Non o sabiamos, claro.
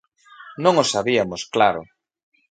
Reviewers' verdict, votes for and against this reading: accepted, 2, 0